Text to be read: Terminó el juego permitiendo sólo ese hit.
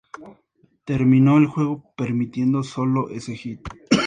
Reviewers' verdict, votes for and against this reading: accepted, 2, 0